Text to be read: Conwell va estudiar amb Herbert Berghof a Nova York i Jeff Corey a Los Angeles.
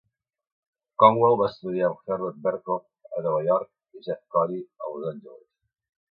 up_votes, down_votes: 1, 2